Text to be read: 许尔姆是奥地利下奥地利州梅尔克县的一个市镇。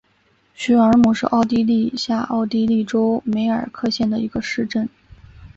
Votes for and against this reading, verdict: 3, 0, accepted